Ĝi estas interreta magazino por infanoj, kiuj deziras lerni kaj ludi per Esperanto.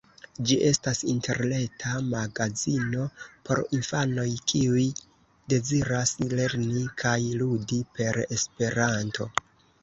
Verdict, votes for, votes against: accepted, 2, 1